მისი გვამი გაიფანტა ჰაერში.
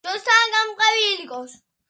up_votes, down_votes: 0, 2